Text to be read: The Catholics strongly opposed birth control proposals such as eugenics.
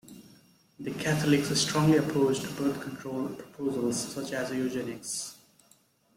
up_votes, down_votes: 2, 0